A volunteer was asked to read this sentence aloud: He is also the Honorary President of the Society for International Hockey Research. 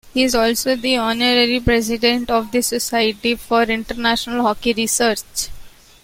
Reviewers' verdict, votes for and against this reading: accepted, 2, 0